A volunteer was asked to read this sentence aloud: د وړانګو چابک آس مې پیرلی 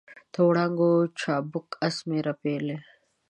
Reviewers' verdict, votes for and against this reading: rejected, 1, 2